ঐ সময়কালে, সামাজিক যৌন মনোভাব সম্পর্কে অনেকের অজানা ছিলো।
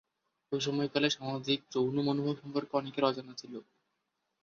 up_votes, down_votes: 1, 2